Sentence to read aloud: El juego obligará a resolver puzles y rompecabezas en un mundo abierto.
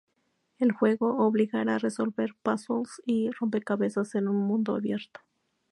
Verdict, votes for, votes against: rejected, 2, 2